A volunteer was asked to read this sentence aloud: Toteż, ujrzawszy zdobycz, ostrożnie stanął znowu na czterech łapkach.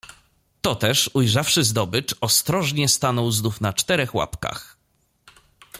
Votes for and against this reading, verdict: 2, 1, accepted